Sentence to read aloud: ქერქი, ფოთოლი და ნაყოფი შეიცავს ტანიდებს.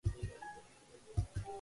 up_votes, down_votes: 0, 2